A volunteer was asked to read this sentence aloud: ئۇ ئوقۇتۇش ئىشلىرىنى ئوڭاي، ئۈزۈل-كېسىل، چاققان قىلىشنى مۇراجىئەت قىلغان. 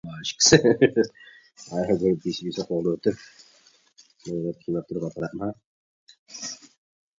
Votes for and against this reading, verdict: 0, 2, rejected